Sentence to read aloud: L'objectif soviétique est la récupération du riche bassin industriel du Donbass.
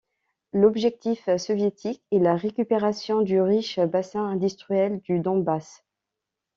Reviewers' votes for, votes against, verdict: 2, 0, accepted